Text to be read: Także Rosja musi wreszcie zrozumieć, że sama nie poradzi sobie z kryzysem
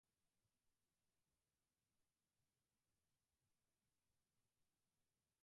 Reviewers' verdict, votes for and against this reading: rejected, 0, 2